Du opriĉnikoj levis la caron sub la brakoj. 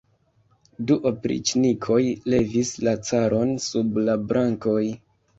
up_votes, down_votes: 2, 3